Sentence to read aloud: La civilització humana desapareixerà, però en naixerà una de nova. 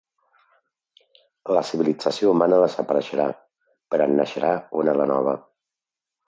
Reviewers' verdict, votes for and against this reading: accepted, 2, 0